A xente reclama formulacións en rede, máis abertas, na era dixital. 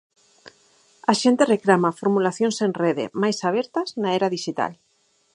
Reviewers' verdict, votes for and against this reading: accepted, 4, 0